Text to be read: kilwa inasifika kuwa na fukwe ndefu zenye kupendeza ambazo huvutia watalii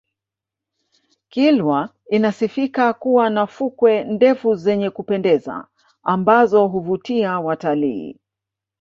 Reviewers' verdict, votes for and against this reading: accepted, 3, 1